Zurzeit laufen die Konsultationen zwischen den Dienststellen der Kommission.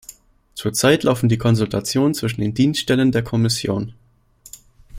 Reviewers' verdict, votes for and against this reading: accepted, 2, 0